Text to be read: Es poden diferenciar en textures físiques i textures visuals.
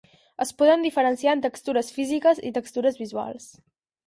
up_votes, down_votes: 4, 0